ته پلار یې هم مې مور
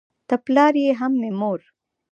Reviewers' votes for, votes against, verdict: 2, 0, accepted